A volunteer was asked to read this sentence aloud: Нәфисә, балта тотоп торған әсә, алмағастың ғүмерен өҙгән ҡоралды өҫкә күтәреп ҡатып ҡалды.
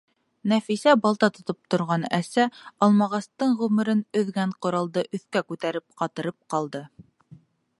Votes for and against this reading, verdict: 2, 4, rejected